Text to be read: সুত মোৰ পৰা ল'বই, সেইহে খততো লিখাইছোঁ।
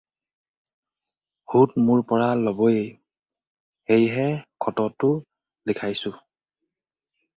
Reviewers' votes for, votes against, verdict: 2, 2, rejected